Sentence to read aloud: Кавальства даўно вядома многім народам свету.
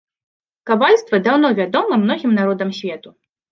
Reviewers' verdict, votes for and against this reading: accepted, 2, 0